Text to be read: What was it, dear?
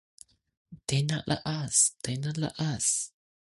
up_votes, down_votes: 0, 2